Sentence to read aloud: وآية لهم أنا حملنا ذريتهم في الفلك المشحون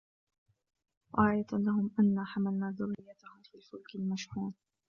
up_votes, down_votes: 0, 2